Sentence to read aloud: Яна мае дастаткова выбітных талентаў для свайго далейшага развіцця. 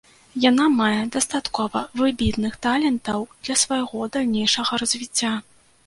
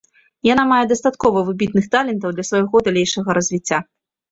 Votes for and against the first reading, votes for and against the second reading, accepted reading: 0, 2, 2, 0, second